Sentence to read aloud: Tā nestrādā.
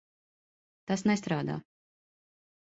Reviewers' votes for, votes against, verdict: 0, 2, rejected